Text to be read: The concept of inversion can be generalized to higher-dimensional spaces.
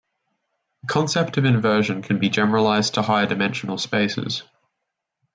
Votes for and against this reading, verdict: 2, 0, accepted